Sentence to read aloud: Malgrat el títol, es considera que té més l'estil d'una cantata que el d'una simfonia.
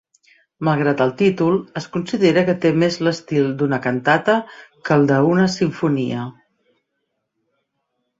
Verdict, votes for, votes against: rejected, 1, 2